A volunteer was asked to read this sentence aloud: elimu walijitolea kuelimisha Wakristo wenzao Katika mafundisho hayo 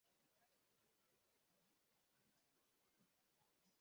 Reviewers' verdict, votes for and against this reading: rejected, 0, 2